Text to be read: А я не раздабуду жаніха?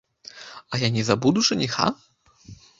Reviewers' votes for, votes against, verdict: 0, 2, rejected